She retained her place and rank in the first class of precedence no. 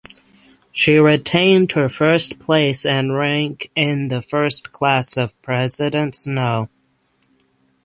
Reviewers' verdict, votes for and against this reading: rejected, 0, 6